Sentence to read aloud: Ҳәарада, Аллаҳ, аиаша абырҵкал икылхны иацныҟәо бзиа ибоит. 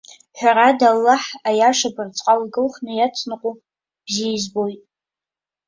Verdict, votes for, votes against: rejected, 1, 2